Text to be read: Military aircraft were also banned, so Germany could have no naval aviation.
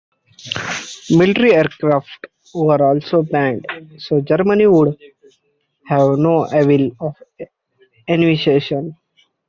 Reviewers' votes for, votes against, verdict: 0, 2, rejected